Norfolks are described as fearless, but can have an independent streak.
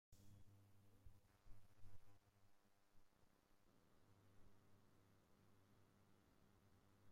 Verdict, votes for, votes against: rejected, 1, 2